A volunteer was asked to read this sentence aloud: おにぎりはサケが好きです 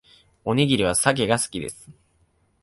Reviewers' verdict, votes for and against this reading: accepted, 3, 0